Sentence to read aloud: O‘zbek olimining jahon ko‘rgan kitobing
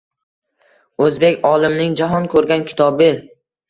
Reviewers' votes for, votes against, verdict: 1, 2, rejected